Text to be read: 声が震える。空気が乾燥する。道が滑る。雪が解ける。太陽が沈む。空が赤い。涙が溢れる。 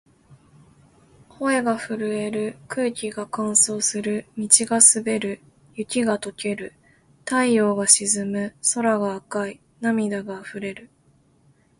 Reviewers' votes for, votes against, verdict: 2, 0, accepted